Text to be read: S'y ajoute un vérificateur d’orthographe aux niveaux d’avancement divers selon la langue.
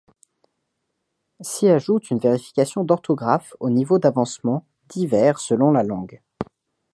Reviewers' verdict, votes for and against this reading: rejected, 1, 2